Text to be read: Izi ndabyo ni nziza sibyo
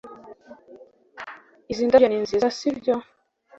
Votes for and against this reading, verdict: 2, 0, accepted